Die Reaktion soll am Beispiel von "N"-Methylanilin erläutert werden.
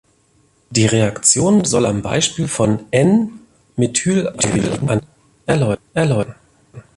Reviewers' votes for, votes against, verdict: 0, 3, rejected